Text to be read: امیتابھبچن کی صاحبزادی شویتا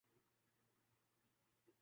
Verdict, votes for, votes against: rejected, 0, 2